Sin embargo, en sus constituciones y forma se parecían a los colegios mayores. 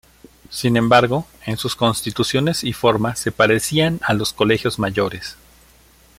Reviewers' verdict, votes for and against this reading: accepted, 2, 0